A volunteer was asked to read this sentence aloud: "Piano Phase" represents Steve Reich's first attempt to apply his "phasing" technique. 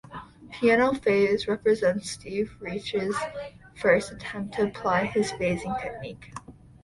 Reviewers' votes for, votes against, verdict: 2, 0, accepted